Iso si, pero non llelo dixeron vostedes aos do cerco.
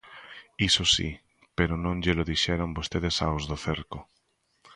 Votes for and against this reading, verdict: 2, 1, accepted